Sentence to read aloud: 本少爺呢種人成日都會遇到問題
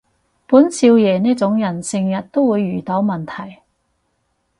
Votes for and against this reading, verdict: 4, 0, accepted